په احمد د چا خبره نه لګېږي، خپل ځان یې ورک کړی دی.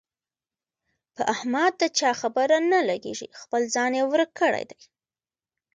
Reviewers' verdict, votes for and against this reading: accepted, 2, 1